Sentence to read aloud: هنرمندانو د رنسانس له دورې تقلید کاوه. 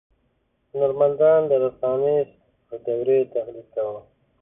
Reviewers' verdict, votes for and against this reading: rejected, 1, 2